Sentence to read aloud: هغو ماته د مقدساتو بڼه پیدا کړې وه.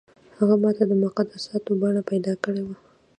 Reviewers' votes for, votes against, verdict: 0, 2, rejected